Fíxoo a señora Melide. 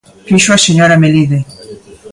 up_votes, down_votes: 2, 0